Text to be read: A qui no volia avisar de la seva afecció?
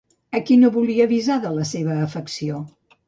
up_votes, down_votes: 2, 0